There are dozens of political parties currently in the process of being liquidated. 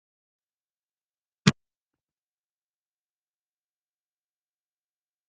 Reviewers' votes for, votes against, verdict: 0, 2, rejected